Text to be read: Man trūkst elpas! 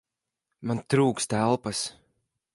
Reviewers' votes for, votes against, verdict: 2, 4, rejected